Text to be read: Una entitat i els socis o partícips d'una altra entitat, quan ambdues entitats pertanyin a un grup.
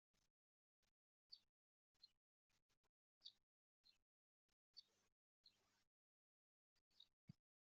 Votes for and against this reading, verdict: 0, 2, rejected